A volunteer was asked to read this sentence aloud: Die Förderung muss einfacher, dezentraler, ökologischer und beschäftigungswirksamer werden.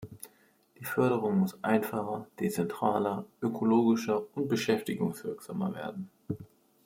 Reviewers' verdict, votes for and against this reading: accepted, 2, 0